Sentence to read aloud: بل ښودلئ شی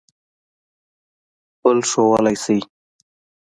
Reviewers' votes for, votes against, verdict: 2, 0, accepted